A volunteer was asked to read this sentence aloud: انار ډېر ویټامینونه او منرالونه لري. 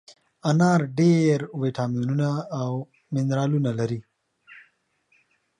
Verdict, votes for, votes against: accepted, 2, 0